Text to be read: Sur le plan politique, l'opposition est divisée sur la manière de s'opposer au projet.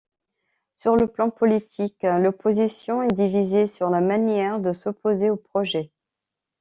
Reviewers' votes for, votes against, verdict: 2, 0, accepted